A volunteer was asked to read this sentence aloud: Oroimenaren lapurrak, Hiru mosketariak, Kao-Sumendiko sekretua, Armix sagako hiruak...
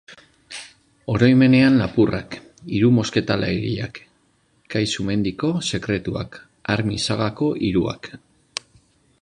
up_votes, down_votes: 0, 2